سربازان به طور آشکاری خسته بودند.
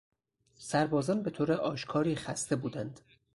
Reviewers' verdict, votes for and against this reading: accepted, 4, 0